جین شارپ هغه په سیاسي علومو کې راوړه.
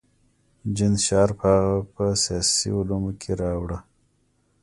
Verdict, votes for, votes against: accepted, 2, 0